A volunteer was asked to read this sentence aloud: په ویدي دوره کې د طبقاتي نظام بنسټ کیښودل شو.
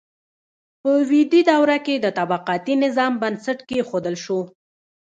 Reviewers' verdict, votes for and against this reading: rejected, 0, 2